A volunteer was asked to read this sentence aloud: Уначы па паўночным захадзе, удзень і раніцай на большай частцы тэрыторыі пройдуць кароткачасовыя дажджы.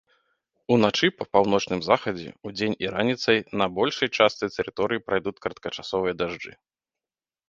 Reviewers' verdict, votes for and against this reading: rejected, 1, 2